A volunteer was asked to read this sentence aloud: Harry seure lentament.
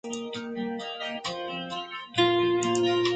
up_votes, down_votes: 0, 2